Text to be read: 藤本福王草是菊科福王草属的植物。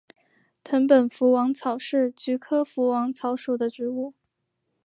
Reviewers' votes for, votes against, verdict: 2, 0, accepted